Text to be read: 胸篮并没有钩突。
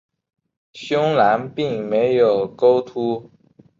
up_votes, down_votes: 3, 0